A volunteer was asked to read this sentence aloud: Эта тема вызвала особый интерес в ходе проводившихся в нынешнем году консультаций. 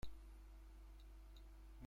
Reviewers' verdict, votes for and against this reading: rejected, 0, 2